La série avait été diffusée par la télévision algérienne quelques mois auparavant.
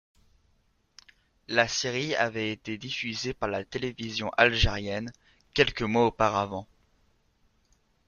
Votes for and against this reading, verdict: 2, 1, accepted